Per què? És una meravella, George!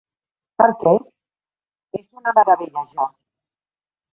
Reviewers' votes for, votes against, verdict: 0, 2, rejected